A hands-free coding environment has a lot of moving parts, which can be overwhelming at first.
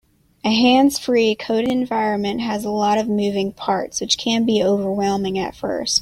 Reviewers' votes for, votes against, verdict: 2, 1, accepted